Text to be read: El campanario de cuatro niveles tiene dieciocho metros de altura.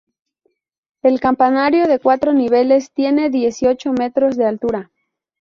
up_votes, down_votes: 2, 0